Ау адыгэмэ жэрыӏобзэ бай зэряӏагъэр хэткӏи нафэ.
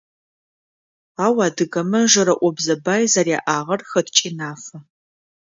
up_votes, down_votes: 2, 0